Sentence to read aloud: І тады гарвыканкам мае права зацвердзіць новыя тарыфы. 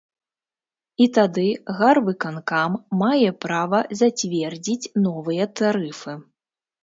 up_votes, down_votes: 2, 0